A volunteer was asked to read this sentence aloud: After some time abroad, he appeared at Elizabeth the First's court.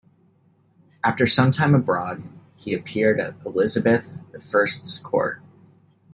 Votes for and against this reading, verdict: 2, 0, accepted